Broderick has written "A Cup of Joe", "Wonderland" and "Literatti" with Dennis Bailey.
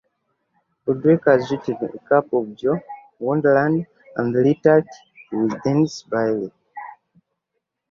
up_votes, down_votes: 1, 2